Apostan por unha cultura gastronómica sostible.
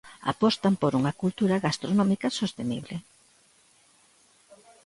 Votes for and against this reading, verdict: 0, 2, rejected